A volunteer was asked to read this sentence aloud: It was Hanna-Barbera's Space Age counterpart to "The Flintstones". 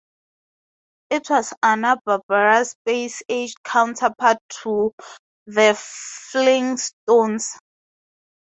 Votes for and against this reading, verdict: 2, 0, accepted